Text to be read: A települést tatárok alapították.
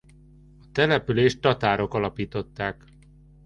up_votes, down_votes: 0, 2